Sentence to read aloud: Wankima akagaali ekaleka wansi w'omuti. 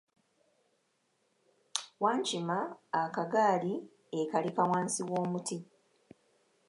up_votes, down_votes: 2, 0